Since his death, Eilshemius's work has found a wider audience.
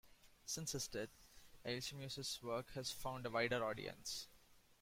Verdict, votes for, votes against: accepted, 2, 1